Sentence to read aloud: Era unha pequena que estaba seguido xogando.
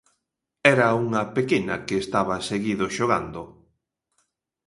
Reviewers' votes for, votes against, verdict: 2, 0, accepted